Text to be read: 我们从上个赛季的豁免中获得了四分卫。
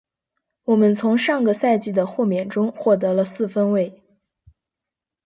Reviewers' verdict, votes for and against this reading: accepted, 3, 1